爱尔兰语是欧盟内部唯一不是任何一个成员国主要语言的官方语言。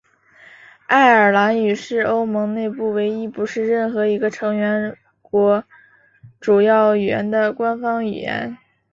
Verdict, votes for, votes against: accepted, 2, 0